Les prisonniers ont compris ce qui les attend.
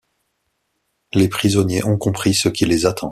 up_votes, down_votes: 2, 0